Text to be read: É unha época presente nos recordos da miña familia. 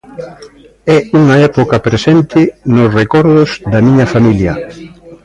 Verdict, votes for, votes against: rejected, 1, 2